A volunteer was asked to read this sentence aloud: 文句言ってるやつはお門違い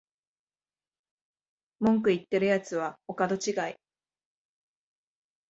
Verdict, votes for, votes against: accepted, 2, 0